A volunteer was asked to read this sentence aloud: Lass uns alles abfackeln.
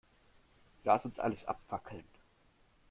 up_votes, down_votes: 2, 0